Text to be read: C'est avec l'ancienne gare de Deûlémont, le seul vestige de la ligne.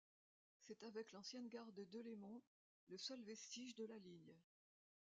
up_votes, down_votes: 1, 2